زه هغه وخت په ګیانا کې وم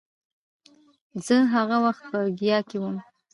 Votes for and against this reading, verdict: 0, 2, rejected